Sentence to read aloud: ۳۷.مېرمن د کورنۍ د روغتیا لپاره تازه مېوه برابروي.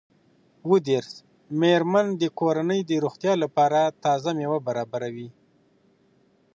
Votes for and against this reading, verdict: 0, 2, rejected